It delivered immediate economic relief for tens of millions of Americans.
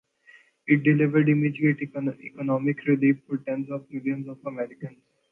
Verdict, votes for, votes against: rejected, 0, 2